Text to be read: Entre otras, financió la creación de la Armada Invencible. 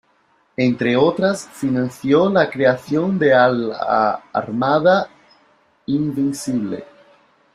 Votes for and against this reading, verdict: 1, 2, rejected